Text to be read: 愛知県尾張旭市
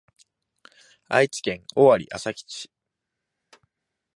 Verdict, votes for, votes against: accepted, 2, 0